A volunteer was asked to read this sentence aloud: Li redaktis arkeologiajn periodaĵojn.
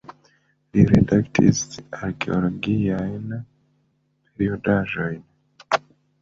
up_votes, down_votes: 0, 2